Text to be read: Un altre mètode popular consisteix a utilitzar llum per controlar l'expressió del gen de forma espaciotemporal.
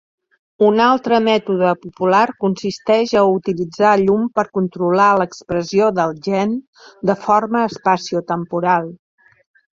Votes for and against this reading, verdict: 3, 0, accepted